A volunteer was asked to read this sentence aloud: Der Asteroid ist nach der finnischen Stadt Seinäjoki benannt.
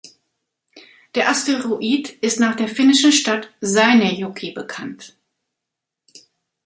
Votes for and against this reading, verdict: 1, 2, rejected